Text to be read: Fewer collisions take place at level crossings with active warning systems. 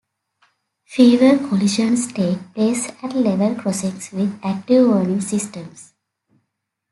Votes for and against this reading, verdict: 2, 0, accepted